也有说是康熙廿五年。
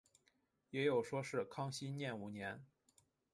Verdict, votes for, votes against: accepted, 2, 0